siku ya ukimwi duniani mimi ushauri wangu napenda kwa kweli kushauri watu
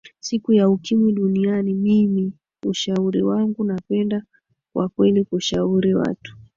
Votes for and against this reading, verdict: 2, 0, accepted